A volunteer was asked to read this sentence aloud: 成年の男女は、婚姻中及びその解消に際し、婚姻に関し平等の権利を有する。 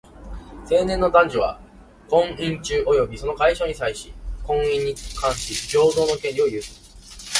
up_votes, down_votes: 1, 2